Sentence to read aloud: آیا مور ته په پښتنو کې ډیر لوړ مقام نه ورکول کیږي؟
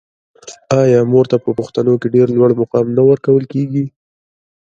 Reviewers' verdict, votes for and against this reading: accepted, 2, 0